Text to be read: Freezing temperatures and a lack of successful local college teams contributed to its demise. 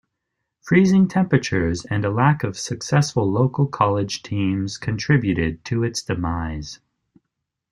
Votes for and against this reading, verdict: 2, 0, accepted